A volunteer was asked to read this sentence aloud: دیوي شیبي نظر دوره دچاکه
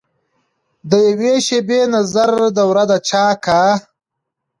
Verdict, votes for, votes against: accepted, 2, 0